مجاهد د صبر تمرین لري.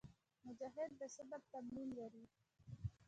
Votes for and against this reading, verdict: 1, 2, rejected